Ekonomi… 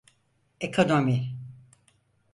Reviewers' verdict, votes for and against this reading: accepted, 4, 0